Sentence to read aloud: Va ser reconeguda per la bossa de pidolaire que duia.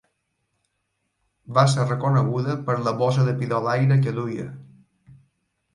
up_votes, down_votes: 2, 0